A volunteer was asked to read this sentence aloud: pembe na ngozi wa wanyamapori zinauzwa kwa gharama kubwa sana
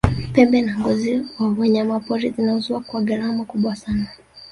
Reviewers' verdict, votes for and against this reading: rejected, 1, 2